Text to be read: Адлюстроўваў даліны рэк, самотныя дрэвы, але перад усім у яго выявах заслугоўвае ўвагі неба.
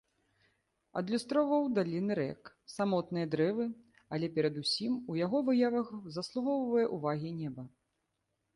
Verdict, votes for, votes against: accepted, 2, 1